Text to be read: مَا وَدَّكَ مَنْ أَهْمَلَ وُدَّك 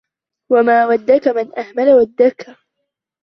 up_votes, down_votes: 1, 2